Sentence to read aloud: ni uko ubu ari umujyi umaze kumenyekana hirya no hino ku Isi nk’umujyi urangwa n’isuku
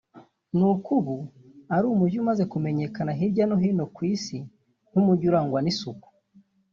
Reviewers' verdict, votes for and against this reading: rejected, 1, 2